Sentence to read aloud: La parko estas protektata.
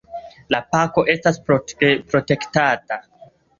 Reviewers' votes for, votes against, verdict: 2, 1, accepted